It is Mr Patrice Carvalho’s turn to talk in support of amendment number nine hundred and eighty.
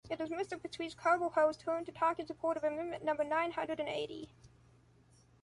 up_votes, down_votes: 1, 2